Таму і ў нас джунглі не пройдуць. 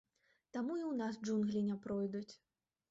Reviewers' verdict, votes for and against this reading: rejected, 0, 2